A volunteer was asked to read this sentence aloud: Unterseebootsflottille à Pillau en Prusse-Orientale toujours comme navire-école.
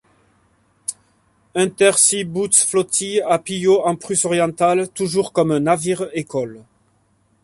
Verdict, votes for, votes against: rejected, 1, 2